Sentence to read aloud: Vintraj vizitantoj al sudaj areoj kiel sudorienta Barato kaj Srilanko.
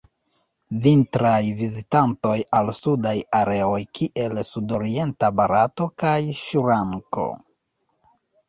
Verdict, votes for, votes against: rejected, 1, 2